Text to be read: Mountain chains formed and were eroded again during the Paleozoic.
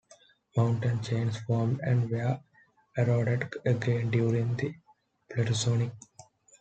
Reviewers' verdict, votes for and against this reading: rejected, 0, 2